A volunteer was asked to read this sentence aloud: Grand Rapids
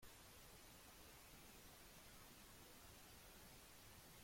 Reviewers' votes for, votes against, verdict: 0, 3, rejected